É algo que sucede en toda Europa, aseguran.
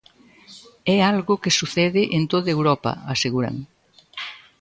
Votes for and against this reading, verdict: 2, 0, accepted